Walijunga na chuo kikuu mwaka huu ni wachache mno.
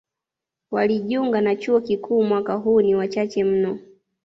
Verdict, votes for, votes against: accepted, 2, 0